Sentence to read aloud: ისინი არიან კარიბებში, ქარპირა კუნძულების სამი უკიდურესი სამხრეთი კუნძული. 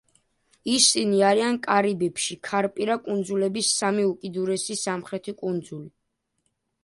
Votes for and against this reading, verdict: 2, 0, accepted